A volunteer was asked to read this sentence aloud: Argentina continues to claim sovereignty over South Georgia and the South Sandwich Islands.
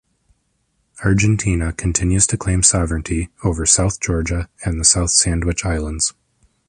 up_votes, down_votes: 2, 0